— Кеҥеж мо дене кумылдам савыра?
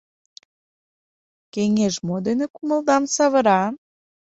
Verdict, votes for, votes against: accepted, 2, 0